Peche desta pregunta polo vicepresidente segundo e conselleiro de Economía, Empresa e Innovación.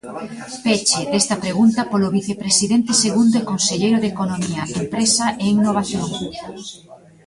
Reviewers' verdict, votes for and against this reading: rejected, 1, 2